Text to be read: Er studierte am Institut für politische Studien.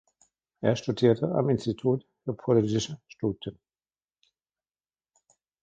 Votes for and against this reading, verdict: 1, 2, rejected